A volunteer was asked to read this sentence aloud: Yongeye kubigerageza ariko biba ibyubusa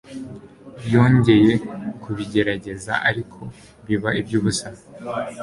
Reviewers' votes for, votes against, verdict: 0, 2, rejected